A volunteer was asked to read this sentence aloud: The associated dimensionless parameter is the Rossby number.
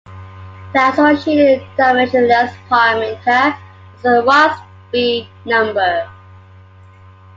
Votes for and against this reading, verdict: 0, 2, rejected